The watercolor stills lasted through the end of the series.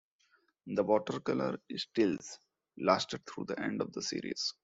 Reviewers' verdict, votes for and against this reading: rejected, 1, 2